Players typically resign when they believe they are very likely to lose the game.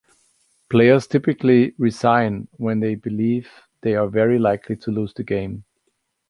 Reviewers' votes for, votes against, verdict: 3, 0, accepted